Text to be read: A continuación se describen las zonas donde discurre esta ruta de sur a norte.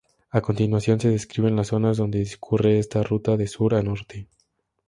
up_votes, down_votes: 4, 0